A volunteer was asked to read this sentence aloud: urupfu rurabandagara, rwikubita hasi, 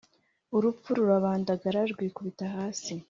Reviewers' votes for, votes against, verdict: 2, 1, accepted